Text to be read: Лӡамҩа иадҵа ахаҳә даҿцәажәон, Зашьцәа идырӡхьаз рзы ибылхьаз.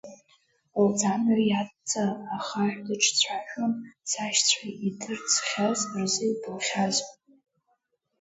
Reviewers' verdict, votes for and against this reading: rejected, 0, 2